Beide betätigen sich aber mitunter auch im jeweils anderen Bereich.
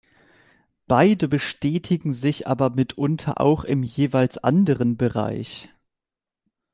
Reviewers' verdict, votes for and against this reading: rejected, 1, 2